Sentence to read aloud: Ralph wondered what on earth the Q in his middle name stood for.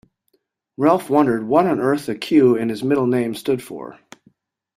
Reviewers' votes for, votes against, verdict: 1, 2, rejected